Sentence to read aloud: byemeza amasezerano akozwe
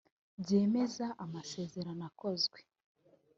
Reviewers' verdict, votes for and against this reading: accepted, 2, 1